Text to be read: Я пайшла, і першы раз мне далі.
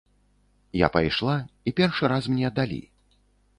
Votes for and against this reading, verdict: 2, 0, accepted